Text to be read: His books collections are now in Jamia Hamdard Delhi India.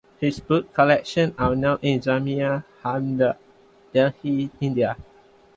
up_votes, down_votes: 1, 2